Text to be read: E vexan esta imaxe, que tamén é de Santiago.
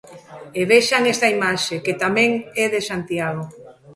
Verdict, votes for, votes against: rejected, 1, 2